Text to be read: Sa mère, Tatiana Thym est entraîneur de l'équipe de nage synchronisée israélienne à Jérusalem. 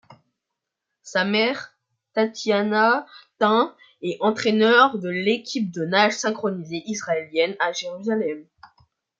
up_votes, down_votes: 2, 1